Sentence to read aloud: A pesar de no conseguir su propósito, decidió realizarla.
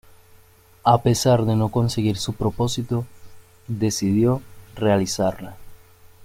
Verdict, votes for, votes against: accepted, 2, 0